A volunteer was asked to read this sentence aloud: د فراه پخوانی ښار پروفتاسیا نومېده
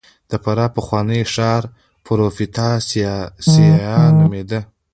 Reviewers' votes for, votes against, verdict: 0, 2, rejected